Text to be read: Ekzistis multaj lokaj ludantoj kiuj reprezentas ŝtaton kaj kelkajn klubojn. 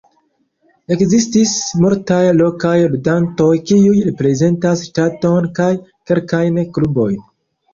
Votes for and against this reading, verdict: 1, 2, rejected